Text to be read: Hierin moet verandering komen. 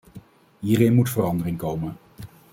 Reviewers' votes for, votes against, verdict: 2, 0, accepted